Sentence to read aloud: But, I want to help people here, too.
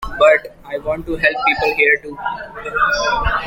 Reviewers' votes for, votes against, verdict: 2, 1, accepted